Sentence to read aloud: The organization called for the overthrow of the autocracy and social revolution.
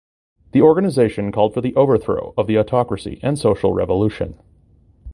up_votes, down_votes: 2, 0